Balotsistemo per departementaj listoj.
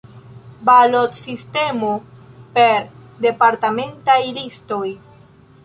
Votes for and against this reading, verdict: 0, 2, rejected